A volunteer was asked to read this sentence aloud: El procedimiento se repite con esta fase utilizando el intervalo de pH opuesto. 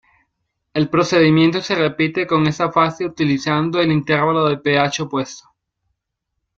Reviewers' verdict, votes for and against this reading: accepted, 2, 1